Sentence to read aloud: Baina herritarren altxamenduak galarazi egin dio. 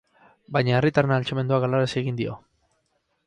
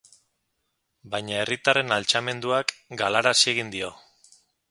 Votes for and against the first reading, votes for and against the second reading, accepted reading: 2, 2, 4, 0, second